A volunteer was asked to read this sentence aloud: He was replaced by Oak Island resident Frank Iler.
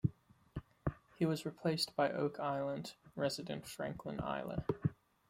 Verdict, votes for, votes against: rejected, 0, 2